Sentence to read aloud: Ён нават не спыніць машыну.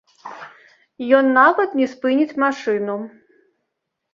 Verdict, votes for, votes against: rejected, 1, 2